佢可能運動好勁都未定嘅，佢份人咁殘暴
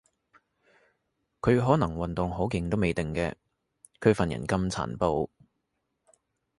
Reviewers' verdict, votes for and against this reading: accepted, 3, 0